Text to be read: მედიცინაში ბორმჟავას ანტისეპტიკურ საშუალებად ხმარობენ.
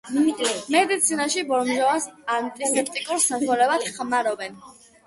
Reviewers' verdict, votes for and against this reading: rejected, 0, 2